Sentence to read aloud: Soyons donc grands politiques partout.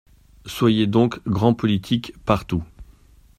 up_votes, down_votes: 0, 2